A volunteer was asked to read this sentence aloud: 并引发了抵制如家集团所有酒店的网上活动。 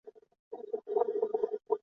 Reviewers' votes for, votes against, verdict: 0, 2, rejected